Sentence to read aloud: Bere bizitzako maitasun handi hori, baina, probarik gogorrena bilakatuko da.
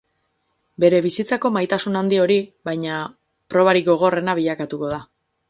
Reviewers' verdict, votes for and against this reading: rejected, 2, 2